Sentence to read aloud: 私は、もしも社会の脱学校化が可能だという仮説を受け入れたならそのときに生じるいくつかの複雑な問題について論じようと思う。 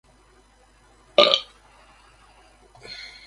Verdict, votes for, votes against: rejected, 1, 2